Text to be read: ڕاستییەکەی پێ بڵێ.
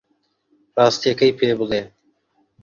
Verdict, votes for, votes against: accepted, 2, 1